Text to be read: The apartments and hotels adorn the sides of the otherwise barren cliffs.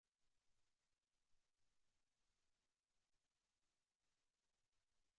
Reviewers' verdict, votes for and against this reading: rejected, 0, 2